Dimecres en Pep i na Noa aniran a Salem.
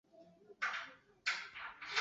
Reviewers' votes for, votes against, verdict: 4, 6, rejected